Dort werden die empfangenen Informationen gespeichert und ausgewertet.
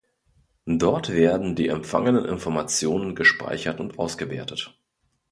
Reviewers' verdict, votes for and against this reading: accepted, 2, 0